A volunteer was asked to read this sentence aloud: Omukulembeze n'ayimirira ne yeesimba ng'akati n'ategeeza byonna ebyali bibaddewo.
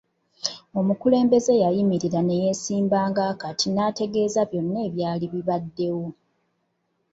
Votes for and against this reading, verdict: 1, 2, rejected